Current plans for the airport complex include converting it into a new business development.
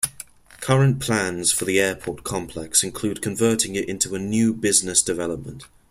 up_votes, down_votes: 2, 0